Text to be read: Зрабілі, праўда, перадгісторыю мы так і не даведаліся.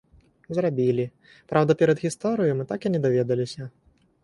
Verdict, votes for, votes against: accepted, 4, 0